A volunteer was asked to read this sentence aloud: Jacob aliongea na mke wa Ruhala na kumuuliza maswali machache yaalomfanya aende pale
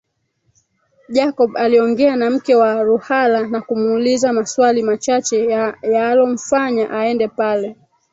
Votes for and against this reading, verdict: 1, 3, rejected